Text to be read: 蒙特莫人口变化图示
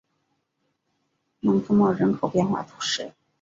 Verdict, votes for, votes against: accepted, 2, 0